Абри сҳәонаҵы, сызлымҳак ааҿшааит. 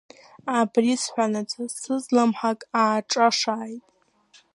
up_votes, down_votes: 0, 2